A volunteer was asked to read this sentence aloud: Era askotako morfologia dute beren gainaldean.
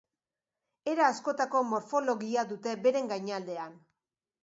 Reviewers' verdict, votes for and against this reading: accepted, 2, 0